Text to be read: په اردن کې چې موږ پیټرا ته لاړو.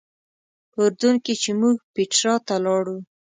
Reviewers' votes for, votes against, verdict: 2, 0, accepted